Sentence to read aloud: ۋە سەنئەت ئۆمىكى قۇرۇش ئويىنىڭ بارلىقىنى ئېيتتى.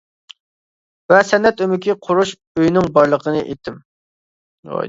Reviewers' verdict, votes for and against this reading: rejected, 0, 2